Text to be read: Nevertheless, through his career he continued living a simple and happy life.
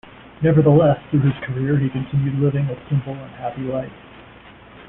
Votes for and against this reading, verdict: 0, 2, rejected